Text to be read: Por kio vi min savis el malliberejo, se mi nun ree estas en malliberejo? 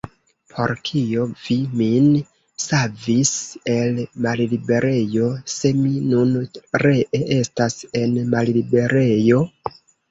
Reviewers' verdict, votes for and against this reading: rejected, 0, 2